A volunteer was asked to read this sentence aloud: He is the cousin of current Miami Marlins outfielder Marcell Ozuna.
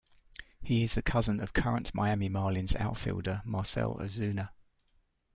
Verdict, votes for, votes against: rejected, 1, 2